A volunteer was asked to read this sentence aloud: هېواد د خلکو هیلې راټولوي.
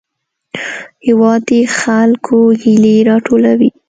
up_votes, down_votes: 2, 0